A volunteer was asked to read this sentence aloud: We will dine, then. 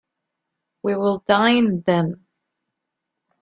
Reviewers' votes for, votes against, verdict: 2, 0, accepted